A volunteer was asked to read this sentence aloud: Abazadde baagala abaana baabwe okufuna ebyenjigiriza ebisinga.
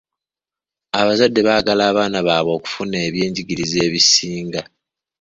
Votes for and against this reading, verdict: 2, 0, accepted